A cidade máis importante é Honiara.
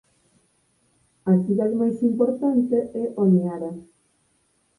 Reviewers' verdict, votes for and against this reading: rejected, 2, 4